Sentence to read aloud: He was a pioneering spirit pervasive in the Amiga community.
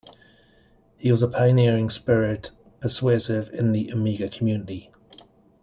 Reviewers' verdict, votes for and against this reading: rejected, 0, 2